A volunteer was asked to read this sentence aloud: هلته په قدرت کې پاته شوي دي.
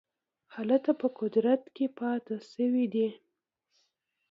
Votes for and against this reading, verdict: 2, 0, accepted